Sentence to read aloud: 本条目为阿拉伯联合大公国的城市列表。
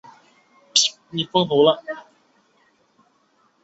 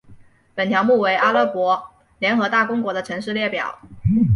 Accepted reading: second